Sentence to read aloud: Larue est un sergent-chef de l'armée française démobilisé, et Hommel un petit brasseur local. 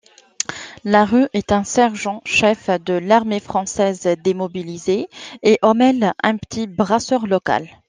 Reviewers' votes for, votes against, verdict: 2, 0, accepted